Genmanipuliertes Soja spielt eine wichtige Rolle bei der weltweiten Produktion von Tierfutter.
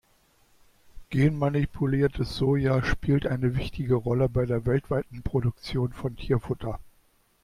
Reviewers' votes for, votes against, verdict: 3, 0, accepted